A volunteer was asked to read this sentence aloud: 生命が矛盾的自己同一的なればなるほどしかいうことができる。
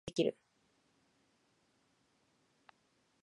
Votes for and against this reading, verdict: 0, 2, rejected